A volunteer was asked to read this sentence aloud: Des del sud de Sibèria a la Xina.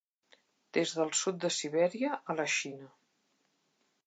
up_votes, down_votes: 2, 0